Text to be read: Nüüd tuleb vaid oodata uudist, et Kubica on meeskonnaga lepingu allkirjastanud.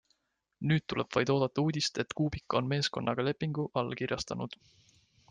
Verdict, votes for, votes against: accepted, 2, 0